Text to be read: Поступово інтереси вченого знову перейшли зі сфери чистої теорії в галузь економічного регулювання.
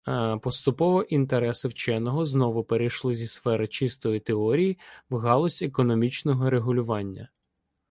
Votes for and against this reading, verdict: 1, 2, rejected